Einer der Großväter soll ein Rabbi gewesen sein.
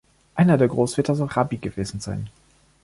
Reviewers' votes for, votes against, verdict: 0, 2, rejected